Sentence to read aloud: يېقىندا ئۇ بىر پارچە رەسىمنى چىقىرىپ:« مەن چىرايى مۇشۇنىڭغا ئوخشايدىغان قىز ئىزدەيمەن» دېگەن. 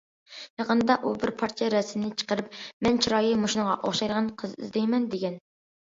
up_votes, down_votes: 2, 0